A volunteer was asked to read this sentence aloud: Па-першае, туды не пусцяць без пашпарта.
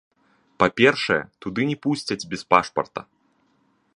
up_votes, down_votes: 0, 3